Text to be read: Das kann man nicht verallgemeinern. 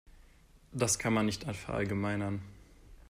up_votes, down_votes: 0, 2